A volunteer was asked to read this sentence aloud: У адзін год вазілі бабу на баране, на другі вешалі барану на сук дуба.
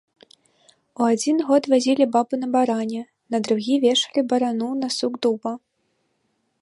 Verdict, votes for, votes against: rejected, 1, 2